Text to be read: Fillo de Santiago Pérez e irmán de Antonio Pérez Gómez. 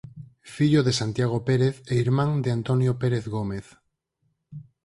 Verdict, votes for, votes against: accepted, 4, 0